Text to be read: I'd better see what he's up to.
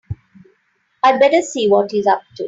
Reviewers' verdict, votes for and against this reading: accepted, 3, 0